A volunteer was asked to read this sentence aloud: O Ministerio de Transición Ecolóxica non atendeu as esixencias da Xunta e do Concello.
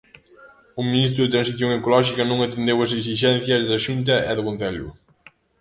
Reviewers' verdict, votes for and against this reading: rejected, 0, 2